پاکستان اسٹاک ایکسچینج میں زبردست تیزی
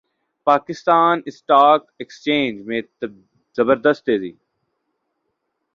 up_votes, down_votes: 1, 2